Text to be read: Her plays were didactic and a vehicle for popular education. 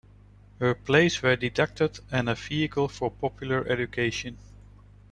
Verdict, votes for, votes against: rejected, 0, 2